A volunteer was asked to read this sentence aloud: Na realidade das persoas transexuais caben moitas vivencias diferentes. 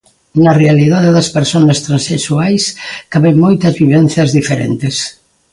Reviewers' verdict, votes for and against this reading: rejected, 1, 2